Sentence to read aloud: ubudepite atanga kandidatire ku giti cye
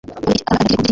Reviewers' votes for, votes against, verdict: 1, 2, rejected